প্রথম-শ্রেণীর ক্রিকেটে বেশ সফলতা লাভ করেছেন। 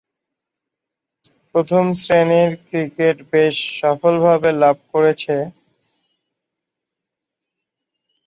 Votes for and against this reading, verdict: 0, 13, rejected